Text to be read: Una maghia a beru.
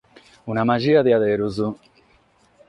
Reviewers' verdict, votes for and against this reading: accepted, 6, 0